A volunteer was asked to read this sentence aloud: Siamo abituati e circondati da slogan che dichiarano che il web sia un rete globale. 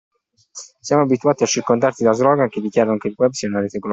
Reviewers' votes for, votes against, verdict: 0, 2, rejected